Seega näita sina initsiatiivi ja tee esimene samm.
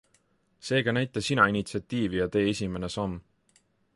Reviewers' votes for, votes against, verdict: 2, 0, accepted